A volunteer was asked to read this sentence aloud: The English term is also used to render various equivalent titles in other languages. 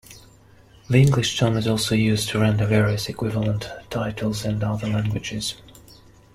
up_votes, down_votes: 0, 2